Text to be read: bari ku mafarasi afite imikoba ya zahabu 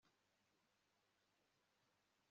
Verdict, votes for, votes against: rejected, 1, 2